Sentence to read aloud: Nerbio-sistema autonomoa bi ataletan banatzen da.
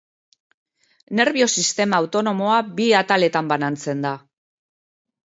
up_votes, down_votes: 0, 2